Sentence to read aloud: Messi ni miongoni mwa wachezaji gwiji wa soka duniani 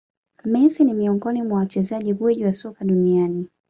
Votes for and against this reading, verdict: 2, 0, accepted